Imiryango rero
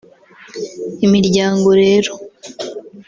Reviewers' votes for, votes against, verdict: 0, 2, rejected